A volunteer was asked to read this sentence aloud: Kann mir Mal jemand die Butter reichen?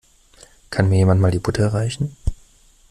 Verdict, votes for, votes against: rejected, 0, 2